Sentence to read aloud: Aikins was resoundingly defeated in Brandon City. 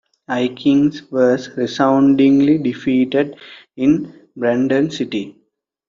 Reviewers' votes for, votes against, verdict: 3, 0, accepted